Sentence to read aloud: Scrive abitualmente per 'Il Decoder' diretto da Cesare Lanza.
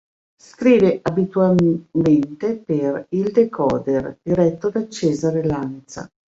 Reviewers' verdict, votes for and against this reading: rejected, 1, 2